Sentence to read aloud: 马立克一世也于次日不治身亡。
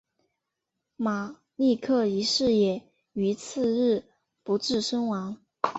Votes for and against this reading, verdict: 3, 0, accepted